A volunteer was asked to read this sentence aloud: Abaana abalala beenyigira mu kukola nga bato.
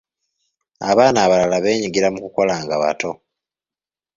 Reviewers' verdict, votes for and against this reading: accepted, 2, 0